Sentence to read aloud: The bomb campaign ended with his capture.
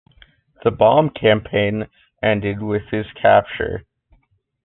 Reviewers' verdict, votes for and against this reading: accepted, 2, 0